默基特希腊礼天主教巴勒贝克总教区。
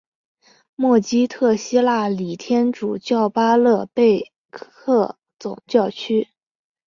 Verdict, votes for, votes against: accepted, 3, 2